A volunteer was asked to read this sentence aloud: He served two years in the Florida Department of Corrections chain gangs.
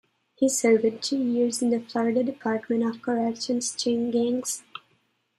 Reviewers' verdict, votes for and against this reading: rejected, 0, 2